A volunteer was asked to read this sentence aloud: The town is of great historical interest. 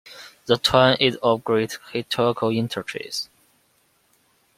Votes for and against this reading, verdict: 0, 2, rejected